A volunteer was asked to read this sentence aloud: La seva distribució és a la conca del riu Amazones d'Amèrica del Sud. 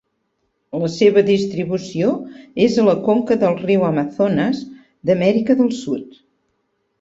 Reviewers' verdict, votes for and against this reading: rejected, 1, 2